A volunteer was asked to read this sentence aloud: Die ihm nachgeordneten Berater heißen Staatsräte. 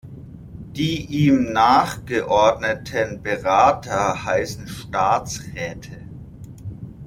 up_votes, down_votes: 2, 0